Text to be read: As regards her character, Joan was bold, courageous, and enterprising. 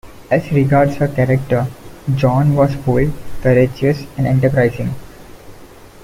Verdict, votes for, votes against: rejected, 0, 2